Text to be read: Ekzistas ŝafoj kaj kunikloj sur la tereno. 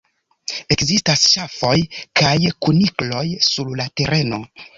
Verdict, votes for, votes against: rejected, 1, 2